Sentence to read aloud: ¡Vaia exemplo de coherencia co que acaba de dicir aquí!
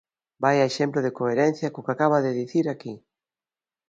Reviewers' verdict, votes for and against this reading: accepted, 2, 0